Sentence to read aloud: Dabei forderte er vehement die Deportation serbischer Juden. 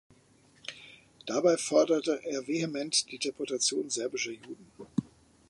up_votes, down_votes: 2, 0